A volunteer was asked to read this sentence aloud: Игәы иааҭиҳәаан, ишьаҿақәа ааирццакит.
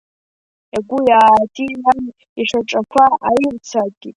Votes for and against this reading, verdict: 2, 1, accepted